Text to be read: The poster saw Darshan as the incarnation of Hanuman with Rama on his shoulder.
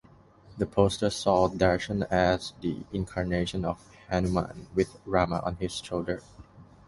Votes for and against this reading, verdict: 2, 0, accepted